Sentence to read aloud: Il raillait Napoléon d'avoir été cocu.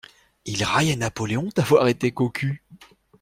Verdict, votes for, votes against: accepted, 2, 0